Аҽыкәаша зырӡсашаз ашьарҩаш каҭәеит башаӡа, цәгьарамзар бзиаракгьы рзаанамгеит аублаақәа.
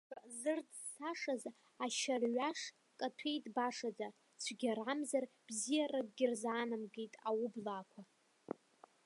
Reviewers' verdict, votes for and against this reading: rejected, 0, 2